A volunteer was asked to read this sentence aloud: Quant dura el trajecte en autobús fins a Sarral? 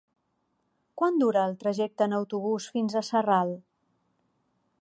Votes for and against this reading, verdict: 2, 0, accepted